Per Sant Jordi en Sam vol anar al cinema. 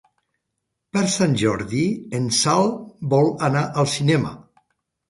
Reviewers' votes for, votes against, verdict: 0, 2, rejected